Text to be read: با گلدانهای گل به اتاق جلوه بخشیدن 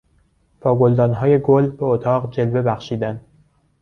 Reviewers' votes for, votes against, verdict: 2, 0, accepted